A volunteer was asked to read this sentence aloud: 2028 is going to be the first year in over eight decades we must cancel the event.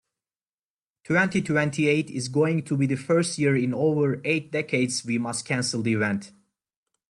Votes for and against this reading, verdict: 0, 2, rejected